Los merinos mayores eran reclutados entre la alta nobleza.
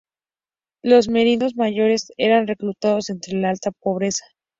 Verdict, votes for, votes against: rejected, 0, 2